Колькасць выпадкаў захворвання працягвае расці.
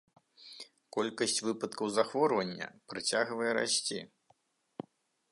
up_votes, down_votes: 3, 0